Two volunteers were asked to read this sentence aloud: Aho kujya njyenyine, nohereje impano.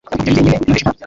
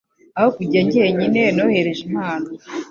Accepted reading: second